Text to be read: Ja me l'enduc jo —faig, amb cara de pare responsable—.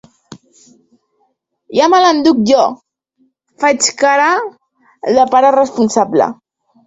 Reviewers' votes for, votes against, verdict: 0, 2, rejected